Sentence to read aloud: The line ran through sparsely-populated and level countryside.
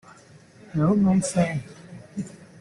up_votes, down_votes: 1, 2